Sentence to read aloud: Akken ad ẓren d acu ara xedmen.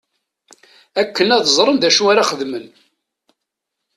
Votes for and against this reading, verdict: 2, 0, accepted